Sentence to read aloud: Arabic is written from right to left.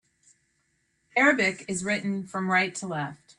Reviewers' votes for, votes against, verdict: 2, 0, accepted